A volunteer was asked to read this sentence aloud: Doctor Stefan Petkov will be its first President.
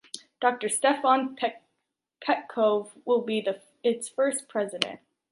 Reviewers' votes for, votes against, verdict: 1, 2, rejected